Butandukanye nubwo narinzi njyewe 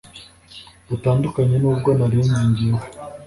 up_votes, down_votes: 3, 0